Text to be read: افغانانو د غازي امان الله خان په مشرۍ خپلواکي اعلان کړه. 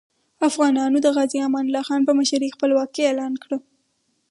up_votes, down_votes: 2, 0